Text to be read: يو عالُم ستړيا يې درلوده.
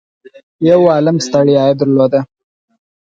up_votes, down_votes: 2, 4